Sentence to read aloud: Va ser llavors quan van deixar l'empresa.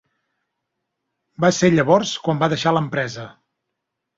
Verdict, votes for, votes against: rejected, 1, 2